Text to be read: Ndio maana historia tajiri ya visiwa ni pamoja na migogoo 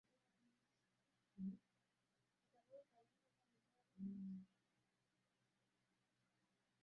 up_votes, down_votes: 0, 2